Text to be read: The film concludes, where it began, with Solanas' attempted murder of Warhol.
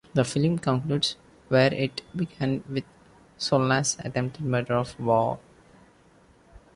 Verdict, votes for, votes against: rejected, 1, 2